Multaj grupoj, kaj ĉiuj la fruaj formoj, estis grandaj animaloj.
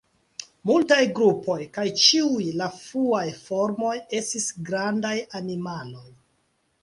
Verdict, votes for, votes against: accepted, 2, 1